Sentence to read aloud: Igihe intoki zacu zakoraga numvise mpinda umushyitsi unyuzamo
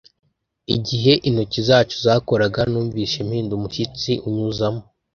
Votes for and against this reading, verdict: 1, 2, rejected